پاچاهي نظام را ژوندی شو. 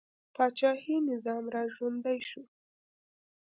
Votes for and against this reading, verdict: 2, 0, accepted